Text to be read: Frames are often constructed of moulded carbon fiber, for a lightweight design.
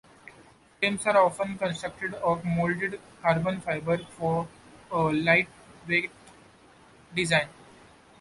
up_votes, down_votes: 2, 0